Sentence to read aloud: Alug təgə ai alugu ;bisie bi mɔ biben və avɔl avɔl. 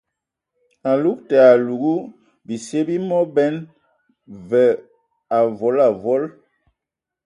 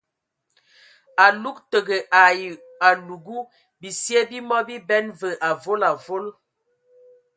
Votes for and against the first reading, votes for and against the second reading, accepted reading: 0, 2, 2, 0, second